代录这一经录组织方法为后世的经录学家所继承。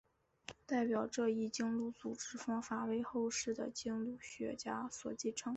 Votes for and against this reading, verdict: 2, 3, rejected